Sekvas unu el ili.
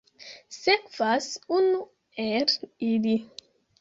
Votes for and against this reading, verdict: 1, 3, rejected